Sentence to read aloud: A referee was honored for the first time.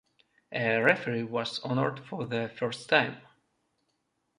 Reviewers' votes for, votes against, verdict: 2, 0, accepted